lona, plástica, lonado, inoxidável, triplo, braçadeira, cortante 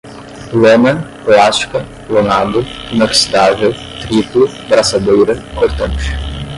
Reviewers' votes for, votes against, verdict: 10, 0, accepted